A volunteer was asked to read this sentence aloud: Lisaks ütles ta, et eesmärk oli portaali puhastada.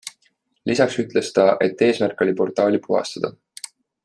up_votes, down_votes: 2, 0